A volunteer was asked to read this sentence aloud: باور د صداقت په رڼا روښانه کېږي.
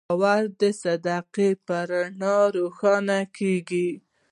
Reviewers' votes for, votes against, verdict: 2, 0, accepted